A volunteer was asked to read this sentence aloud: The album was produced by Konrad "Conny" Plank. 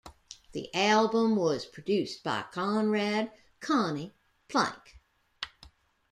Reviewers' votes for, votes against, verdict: 2, 0, accepted